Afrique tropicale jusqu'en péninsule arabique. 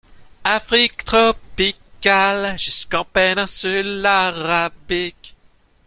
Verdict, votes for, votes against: rejected, 0, 2